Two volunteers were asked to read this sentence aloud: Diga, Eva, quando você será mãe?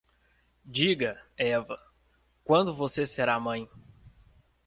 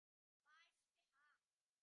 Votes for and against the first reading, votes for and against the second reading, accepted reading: 2, 0, 0, 2, first